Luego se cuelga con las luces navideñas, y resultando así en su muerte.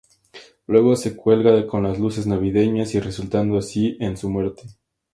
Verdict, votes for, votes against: accepted, 2, 0